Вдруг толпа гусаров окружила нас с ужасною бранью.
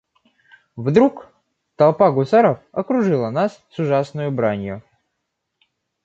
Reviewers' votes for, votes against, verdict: 2, 1, accepted